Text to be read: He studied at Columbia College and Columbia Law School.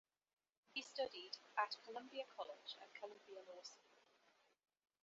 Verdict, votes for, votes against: rejected, 0, 2